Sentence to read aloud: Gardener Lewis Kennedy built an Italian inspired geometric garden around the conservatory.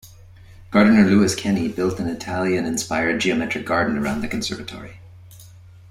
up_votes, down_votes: 1, 2